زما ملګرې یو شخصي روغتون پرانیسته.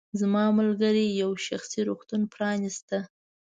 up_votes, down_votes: 2, 0